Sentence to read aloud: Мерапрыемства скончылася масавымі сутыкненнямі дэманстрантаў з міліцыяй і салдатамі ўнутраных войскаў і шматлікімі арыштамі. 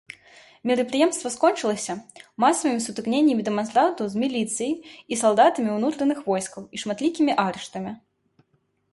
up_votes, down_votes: 2, 0